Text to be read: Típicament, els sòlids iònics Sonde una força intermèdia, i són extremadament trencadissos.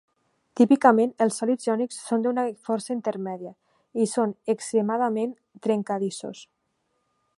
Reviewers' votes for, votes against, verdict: 0, 2, rejected